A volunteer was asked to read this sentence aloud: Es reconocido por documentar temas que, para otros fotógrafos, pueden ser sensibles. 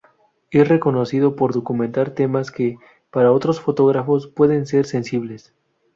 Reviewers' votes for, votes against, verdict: 2, 0, accepted